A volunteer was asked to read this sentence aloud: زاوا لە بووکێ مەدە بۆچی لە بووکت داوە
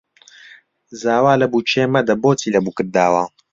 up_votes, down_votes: 2, 0